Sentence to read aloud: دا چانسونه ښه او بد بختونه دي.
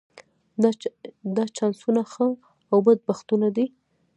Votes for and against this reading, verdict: 2, 1, accepted